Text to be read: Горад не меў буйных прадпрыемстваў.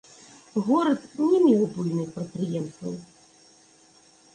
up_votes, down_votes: 2, 1